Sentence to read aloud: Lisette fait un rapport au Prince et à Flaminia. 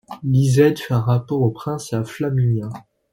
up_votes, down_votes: 2, 1